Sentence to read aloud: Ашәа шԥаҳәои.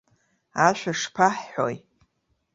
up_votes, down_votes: 1, 2